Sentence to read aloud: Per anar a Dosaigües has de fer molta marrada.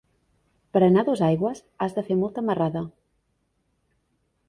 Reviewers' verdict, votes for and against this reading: accepted, 3, 0